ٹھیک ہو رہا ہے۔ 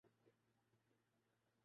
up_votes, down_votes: 0, 2